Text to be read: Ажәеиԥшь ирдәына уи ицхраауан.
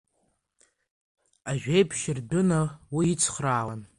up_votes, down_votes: 1, 2